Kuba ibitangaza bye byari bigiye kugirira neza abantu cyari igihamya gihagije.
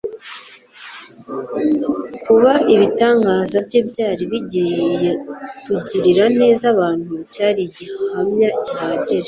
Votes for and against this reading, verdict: 2, 0, accepted